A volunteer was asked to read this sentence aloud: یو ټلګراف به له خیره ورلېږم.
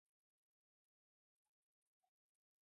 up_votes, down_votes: 0, 2